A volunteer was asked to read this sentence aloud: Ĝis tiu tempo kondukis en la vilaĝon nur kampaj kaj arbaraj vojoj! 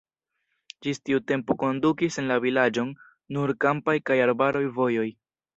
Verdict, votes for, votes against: rejected, 1, 2